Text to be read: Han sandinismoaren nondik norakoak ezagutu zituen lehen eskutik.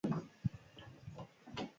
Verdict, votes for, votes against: rejected, 0, 4